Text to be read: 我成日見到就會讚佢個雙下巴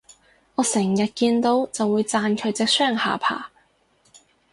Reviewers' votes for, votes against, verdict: 0, 2, rejected